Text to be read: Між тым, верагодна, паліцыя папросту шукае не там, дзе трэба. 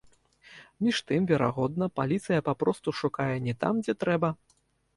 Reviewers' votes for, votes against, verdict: 2, 1, accepted